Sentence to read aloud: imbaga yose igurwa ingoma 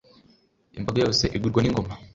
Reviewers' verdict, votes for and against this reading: accepted, 2, 0